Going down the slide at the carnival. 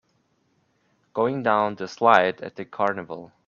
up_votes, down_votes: 2, 0